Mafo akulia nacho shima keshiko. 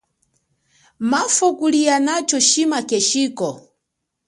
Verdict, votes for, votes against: accepted, 2, 0